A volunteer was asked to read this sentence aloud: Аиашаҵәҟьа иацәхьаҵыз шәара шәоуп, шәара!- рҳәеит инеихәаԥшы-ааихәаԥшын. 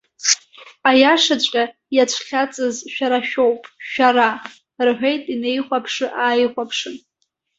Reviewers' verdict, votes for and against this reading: accepted, 2, 0